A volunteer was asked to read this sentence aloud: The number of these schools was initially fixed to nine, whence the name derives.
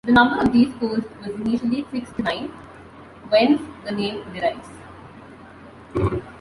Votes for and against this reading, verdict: 2, 0, accepted